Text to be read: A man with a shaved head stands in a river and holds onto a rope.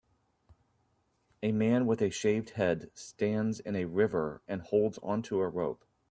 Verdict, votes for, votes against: accepted, 3, 0